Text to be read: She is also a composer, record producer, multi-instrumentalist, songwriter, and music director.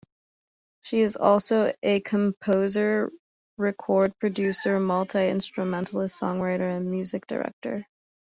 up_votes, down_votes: 2, 0